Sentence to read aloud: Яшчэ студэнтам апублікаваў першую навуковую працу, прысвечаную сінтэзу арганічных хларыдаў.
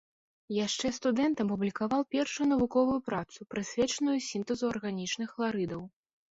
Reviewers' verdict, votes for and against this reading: rejected, 0, 2